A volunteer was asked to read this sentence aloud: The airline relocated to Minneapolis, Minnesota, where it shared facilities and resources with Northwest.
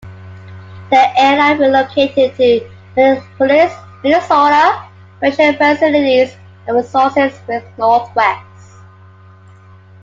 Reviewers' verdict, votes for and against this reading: accepted, 3, 1